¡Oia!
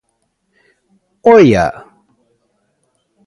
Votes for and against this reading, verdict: 2, 0, accepted